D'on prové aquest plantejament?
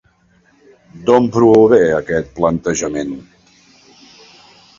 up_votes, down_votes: 2, 0